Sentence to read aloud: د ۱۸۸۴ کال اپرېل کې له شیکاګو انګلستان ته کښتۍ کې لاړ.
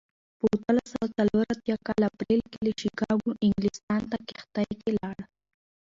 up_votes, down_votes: 0, 2